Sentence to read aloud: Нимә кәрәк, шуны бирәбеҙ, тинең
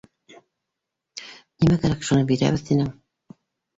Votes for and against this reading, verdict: 1, 2, rejected